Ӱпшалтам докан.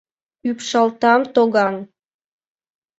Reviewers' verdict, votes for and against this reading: rejected, 0, 2